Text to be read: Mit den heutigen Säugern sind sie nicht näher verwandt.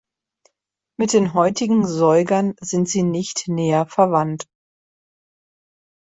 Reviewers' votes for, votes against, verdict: 2, 0, accepted